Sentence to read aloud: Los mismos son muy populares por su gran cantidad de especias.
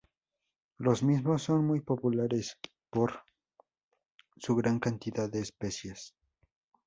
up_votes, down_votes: 2, 0